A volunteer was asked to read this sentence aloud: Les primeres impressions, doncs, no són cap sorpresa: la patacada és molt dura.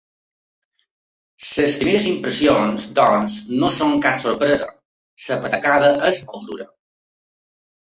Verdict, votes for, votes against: accepted, 3, 2